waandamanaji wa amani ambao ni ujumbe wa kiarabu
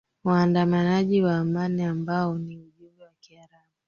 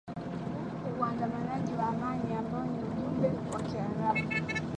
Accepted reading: second